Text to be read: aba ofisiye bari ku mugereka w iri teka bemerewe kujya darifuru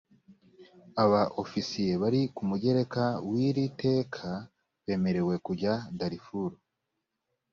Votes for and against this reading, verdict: 2, 0, accepted